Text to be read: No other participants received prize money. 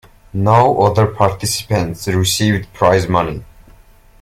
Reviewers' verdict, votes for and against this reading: rejected, 1, 2